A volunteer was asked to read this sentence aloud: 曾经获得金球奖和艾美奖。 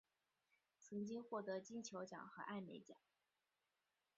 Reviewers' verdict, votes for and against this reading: rejected, 1, 2